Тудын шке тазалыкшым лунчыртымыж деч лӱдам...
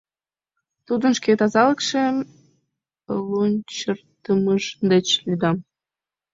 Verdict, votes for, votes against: rejected, 2, 4